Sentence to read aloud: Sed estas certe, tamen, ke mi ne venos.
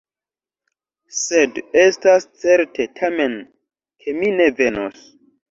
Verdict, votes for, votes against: rejected, 0, 2